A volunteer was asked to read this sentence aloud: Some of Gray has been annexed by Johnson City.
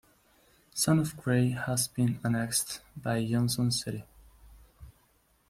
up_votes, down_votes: 2, 0